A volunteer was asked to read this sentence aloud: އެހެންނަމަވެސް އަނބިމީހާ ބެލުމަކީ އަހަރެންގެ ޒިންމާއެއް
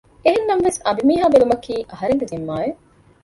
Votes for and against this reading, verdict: 1, 2, rejected